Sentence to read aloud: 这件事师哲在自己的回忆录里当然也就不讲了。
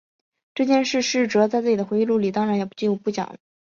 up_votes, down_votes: 3, 2